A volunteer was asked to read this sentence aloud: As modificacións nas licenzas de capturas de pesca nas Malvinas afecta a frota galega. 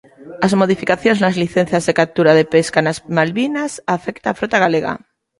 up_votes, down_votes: 1, 2